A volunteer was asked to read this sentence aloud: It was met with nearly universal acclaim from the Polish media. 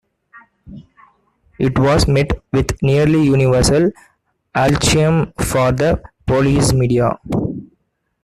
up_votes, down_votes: 0, 2